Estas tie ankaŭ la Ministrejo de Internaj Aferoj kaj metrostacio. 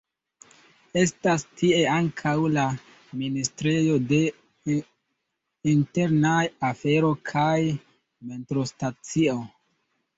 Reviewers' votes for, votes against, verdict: 1, 2, rejected